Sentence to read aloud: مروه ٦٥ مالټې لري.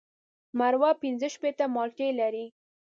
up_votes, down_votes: 0, 2